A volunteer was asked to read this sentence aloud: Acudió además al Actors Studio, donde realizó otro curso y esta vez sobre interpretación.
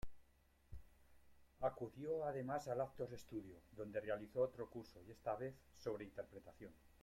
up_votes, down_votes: 1, 2